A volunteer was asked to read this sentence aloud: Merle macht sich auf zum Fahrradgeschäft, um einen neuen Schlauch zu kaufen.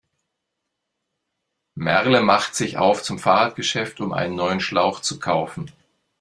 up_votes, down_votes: 2, 0